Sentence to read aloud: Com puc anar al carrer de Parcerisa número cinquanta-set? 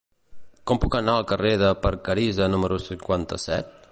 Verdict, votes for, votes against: rejected, 1, 2